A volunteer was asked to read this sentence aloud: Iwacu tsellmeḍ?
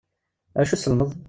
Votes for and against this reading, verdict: 2, 0, accepted